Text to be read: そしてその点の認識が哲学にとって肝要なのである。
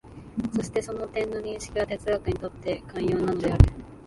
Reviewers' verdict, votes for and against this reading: accepted, 2, 0